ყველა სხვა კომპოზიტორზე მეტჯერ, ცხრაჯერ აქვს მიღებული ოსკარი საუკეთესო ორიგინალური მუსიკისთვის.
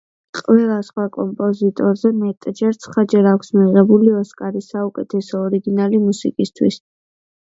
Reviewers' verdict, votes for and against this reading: rejected, 1, 2